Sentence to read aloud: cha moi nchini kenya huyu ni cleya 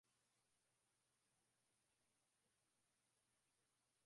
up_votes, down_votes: 0, 2